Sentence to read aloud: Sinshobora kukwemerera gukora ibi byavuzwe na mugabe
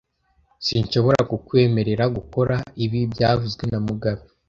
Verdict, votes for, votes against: accepted, 2, 0